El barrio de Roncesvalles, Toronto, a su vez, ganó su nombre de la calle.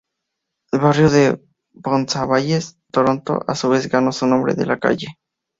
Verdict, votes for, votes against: rejected, 2, 4